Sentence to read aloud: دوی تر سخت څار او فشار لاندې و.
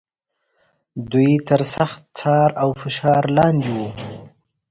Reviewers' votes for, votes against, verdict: 2, 0, accepted